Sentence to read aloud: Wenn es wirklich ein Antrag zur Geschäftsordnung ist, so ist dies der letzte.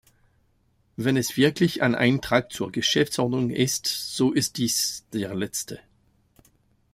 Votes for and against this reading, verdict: 1, 2, rejected